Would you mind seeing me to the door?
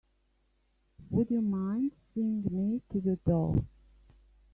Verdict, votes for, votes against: rejected, 1, 2